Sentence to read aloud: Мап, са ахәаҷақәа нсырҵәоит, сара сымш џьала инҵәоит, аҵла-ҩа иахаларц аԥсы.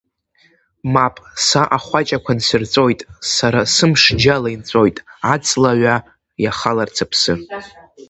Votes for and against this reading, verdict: 1, 2, rejected